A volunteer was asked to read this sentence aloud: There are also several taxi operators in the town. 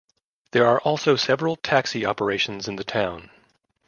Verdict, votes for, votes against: rejected, 0, 2